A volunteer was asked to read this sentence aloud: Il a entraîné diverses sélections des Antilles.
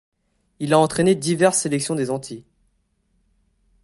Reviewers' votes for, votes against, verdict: 2, 0, accepted